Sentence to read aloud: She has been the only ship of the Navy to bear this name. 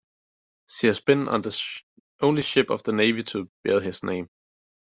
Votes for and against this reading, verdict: 0, 2, rejected